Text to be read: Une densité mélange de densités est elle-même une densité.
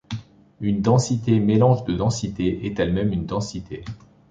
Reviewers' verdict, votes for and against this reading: accepted, 2, 0